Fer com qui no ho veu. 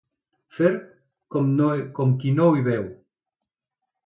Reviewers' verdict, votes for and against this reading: rejected, 0, 2